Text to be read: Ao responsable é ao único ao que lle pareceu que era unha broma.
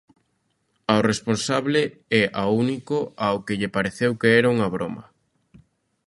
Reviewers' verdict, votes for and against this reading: accepted, 2, 0